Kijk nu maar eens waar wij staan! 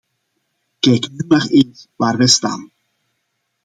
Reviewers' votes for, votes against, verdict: 0, 2, rejected